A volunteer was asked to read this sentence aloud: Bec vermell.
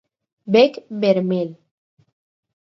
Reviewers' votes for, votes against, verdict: 8, 0, accepted